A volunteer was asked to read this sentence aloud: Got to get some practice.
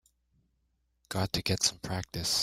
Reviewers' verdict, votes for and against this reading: accepted, 2, 0